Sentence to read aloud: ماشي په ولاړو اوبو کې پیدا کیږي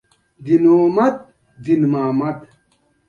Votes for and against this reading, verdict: 2, 1, accepted